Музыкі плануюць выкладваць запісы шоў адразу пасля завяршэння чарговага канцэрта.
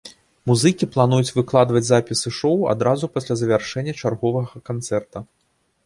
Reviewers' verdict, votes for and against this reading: accepted, 2, 0